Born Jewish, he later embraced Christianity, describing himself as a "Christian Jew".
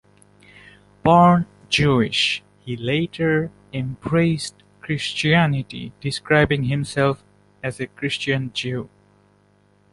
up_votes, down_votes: 2, 0